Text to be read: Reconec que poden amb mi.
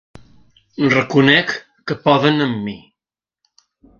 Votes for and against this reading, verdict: 2, 0, accepted